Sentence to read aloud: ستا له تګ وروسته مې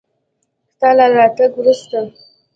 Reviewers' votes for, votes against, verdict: 2, 0, accepted